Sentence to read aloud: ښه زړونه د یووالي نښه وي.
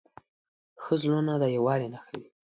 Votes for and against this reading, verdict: 2, 0, accepted